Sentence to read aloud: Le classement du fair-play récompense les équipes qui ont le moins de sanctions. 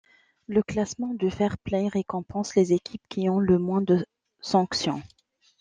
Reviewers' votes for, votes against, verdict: 2, 0, accepted